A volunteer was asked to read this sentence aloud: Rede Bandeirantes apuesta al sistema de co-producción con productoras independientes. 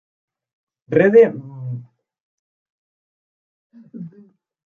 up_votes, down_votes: 0, 2